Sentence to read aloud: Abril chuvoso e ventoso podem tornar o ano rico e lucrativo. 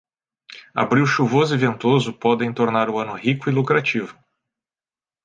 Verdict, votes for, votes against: accepted, 2, 0